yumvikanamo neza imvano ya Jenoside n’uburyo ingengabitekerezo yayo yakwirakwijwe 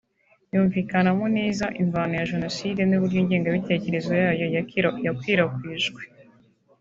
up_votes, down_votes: 1, 3